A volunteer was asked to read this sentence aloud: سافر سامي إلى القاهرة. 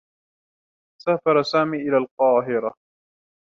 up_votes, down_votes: 2, 0